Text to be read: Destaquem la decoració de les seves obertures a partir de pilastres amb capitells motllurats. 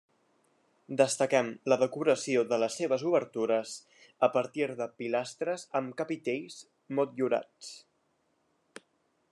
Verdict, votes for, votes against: accepted, 3, 0